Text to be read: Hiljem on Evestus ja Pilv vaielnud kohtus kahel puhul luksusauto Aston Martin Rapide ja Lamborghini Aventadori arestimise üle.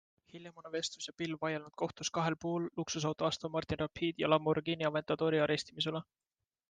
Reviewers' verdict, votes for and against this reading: accepted, 2, 0